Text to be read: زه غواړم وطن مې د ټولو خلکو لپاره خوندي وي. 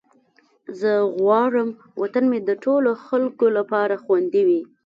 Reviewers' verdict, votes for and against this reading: rejected, 1, 2